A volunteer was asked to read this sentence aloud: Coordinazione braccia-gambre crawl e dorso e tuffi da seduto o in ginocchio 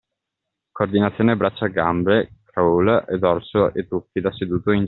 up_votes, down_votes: 0, 2